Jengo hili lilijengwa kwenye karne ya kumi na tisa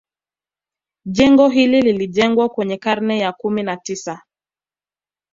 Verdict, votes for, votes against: accepted, 2, 0